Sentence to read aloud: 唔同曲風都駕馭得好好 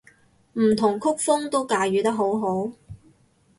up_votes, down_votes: 4, 0